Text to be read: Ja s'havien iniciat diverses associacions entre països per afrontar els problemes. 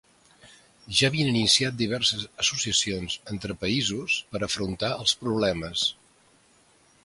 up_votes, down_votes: 1, 2